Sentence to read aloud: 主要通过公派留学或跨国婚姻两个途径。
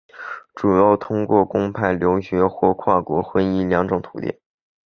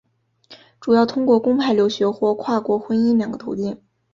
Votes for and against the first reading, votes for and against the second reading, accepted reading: 1, 2, 2, 1, second